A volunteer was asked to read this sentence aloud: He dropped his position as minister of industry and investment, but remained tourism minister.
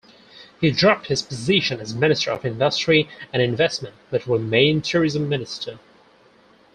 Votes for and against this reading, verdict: 4, 0, accepted